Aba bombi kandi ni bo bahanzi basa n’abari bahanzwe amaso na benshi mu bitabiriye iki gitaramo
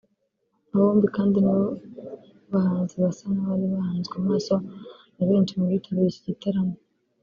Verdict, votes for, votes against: rejected, 0, 2